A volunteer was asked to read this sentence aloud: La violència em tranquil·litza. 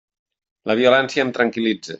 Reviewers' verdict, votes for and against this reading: accepted, 3, 0